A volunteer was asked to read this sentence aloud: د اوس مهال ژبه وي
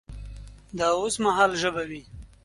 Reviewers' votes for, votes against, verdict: 3, 0, accepted